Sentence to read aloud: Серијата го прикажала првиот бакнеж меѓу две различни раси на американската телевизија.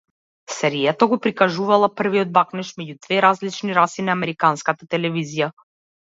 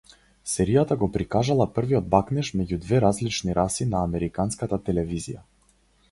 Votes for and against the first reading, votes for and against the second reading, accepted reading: 0, 2, 4, 0, second